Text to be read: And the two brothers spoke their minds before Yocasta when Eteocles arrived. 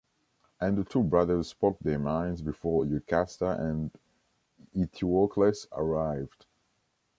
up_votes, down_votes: 0, 2